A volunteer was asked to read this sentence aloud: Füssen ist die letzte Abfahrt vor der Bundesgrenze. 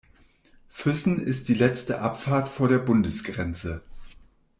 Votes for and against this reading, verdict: 2, 0, accepted